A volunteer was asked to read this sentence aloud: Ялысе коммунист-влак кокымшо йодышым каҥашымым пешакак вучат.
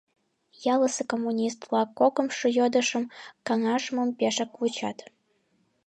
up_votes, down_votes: 0, 2